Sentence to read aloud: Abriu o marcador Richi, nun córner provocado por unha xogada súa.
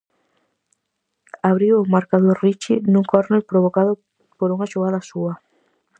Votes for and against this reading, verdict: 4, 0, accepted